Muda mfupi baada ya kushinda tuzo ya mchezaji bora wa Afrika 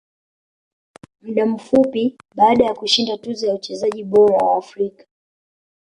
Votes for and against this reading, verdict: 2, 0, accepted